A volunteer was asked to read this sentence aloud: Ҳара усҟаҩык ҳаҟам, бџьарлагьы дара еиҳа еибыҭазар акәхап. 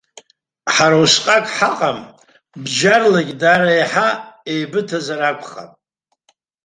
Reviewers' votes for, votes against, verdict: 0, 2, rejected